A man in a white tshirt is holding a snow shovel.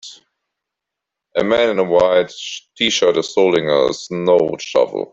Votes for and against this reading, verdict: 1, 2, rejected